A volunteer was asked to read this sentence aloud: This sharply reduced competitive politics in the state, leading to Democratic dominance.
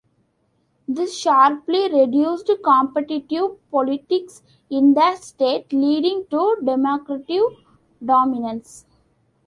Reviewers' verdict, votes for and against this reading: rejected, 1, 2